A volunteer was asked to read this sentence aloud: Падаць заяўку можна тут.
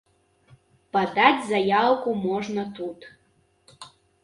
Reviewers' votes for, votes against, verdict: 2, 0, accepted